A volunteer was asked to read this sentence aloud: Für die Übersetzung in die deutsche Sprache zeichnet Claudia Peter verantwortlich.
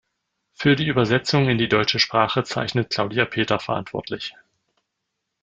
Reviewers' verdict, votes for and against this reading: rejected, 1, 2